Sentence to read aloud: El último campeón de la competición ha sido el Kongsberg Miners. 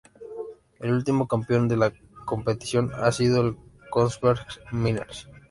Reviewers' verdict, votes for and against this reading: accepted, 2, 1